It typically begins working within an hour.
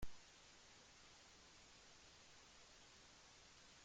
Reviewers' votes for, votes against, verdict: 0, 2, rejected